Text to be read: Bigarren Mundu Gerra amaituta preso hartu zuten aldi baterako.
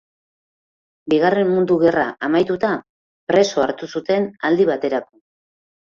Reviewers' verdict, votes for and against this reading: rejected, 2, 2